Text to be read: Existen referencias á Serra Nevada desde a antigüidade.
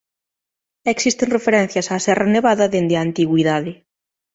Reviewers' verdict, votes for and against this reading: accepted, 2, 1